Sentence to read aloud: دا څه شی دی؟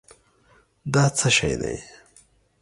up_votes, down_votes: 3, 0